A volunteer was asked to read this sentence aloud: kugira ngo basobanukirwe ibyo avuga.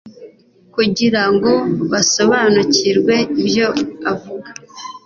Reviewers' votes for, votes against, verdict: 2, 0, accepted